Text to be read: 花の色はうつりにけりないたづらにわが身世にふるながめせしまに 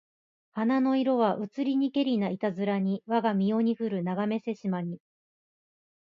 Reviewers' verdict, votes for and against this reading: accepted, 2, 1